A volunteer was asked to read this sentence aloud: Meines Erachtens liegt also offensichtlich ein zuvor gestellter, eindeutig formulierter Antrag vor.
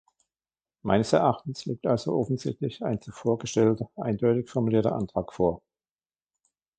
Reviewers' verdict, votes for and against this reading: accepted, 2, 0